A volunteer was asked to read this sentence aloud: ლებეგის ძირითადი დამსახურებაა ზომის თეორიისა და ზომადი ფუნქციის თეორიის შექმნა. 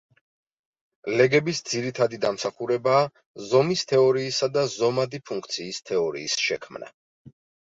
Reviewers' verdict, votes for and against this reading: rejected, 1, 2